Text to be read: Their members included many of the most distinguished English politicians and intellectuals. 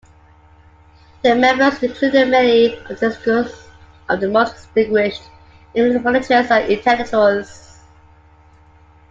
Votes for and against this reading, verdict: 0, 2, rejected